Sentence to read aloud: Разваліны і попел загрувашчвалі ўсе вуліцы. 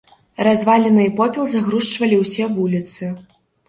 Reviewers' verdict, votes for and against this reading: rejected, 1, 2